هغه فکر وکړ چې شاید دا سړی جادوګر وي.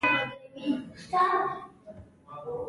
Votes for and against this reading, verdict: 1, 2, rejected